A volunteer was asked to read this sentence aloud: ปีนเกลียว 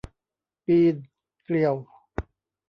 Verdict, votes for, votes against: accepted, 2, 0